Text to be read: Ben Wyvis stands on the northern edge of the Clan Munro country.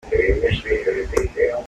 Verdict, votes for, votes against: rejected, 0, 2